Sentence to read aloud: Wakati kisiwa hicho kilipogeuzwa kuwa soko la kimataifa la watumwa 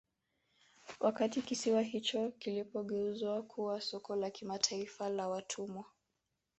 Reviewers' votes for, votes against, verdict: 0, 2, rejected